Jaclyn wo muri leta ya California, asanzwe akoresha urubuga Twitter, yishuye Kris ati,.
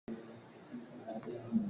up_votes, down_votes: 0, 2